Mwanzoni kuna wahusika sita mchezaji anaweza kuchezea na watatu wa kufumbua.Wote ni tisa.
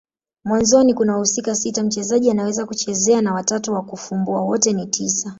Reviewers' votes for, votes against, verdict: 2, 0, accepted